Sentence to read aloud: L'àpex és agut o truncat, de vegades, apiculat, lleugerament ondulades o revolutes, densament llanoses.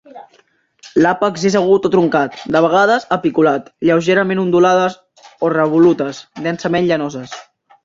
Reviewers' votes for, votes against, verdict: 3, 0, accepted